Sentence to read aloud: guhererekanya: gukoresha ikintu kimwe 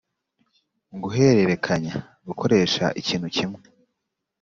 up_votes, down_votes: 2, 0